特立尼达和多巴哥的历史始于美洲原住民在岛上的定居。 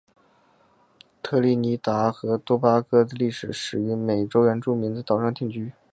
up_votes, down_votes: 5, 1